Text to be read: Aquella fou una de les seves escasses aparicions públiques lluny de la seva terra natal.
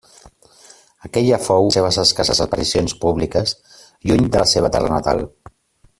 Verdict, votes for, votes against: rejected, 0, 2